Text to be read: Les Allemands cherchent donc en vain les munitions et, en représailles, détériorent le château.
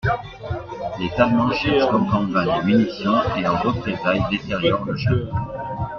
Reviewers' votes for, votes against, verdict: 0, 2, rejected